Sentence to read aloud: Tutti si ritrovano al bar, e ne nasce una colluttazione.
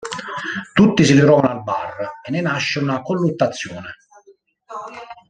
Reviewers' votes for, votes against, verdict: 0, 2, rejected